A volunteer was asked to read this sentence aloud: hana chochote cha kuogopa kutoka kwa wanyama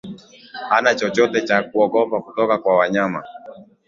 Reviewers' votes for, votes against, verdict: 4, 3, accepted